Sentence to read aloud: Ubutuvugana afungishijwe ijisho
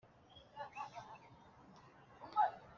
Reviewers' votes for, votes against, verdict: 0, 2, rejected